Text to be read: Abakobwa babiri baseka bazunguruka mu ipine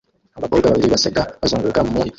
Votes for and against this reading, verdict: 0, 2, rejected